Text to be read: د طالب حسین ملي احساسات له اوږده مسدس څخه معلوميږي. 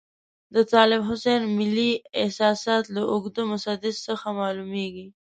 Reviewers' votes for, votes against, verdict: 2, 0, accepted